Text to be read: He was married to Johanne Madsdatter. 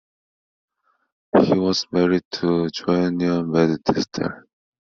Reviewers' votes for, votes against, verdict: 0, 2, rejected